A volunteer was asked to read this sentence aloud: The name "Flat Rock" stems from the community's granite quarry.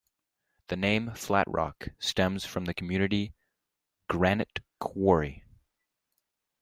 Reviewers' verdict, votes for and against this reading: rejected, 0, 2